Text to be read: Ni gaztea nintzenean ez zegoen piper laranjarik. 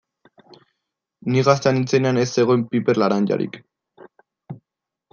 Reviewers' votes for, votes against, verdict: 2, 0, accepted